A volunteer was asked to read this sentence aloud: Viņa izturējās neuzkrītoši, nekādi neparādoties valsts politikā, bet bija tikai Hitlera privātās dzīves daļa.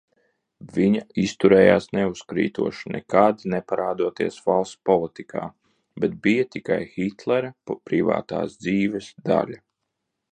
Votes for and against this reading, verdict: 1, 2, rejected